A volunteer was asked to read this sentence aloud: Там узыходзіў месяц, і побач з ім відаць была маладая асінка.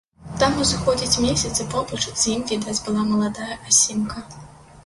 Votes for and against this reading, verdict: 0, 2, rejected